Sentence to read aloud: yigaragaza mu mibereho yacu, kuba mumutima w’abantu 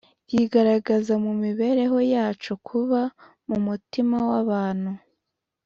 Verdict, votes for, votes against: accepted, 2, 0